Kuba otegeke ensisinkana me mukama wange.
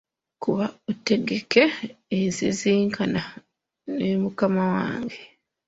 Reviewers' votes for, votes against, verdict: 2, 0, accepted